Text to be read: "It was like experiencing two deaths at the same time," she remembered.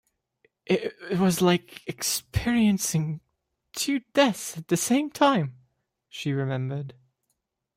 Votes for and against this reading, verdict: 1, 2, rejected